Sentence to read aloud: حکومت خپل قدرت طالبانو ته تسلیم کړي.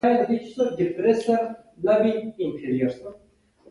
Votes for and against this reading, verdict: 0, 2, rejected